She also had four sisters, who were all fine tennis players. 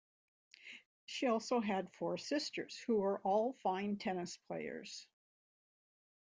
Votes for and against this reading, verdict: 2, 1, accepted